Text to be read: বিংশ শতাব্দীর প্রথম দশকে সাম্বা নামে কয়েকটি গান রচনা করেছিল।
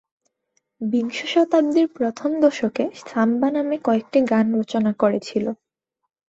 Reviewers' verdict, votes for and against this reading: accepted, 2, 0